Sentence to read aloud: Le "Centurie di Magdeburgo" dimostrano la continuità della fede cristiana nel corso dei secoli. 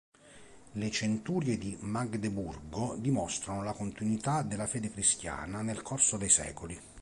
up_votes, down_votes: 2, 0